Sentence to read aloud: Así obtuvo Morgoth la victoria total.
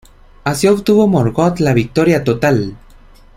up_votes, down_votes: 2, 0